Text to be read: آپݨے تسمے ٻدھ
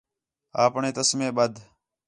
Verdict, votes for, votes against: accepted, 4, 0